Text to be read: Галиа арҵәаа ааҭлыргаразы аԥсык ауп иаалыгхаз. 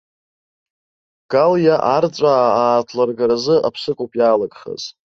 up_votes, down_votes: 0, 2